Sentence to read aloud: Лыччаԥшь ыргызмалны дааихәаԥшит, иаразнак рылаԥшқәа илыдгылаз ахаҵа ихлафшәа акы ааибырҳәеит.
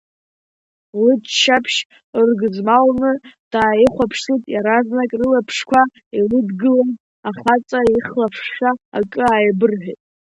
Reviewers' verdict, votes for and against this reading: accepted, 2, 0